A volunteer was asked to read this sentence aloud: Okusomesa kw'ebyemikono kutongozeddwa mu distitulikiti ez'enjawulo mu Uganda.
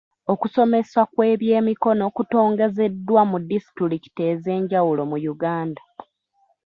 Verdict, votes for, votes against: accepted, 2, 1